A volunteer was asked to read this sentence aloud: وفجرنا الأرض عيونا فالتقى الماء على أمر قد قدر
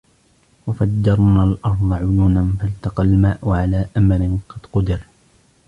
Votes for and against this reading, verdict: 1, 2, rejected